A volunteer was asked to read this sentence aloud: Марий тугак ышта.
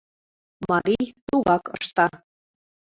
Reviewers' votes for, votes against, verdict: 1, 2, rejected